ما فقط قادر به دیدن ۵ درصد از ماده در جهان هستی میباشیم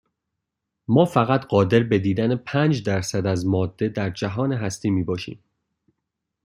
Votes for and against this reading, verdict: 0, 2, rejected